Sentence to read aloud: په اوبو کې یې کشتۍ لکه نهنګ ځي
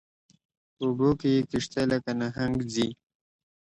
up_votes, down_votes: 2, 0